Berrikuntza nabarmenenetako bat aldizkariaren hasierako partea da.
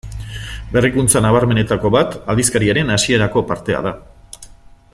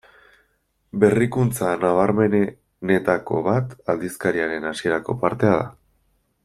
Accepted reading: second